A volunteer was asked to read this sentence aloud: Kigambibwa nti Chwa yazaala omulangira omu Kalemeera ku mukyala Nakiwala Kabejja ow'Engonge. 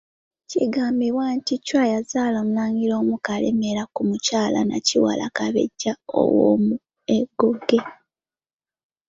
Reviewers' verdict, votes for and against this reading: rejected, 1, 2